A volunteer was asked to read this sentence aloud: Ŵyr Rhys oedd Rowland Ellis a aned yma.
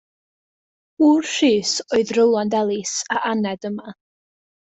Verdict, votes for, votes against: rejected, 0, 2